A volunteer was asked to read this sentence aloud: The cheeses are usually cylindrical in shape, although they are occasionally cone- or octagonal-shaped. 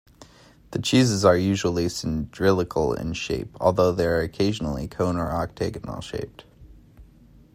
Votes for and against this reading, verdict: 0, 2, rejected